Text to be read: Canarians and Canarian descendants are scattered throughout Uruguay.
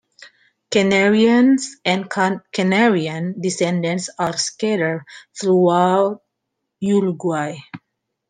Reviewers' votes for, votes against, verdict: 1, 2, rejected